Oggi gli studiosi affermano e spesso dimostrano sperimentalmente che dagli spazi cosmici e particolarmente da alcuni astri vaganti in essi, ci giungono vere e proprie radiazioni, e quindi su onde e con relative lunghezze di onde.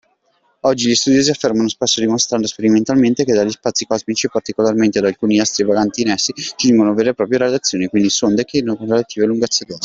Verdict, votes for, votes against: rejected, 0, 2